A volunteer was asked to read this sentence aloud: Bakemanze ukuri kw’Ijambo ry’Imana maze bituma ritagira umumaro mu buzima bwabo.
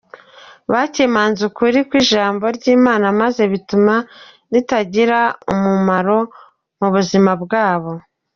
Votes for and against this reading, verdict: 3, 2, accepted